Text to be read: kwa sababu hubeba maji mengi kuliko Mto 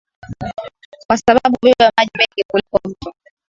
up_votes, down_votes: 3, 0